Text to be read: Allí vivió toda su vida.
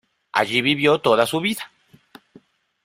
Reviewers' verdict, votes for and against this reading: accepted, 2, 0